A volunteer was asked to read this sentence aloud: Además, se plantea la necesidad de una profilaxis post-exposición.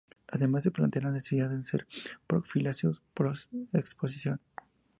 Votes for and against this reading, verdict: 0, 2, rejected